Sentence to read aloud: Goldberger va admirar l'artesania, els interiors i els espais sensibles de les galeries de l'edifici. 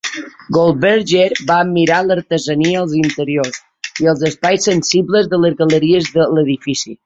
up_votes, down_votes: 2, 1